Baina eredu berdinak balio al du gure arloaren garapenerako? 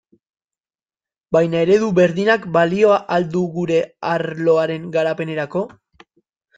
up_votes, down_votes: 1, 2